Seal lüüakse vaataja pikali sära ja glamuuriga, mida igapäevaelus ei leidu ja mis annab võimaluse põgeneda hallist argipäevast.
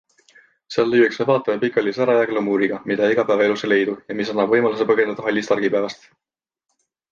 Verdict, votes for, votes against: accepted, 2, 0